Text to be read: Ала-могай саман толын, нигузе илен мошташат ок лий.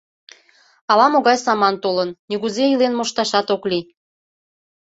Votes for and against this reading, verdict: 2, 0, accepted